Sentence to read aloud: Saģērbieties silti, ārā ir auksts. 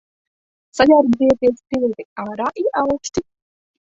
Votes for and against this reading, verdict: 0, 2, rejected